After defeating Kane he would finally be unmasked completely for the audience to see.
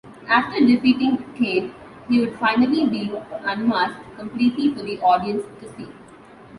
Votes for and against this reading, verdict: 2, 0, accepted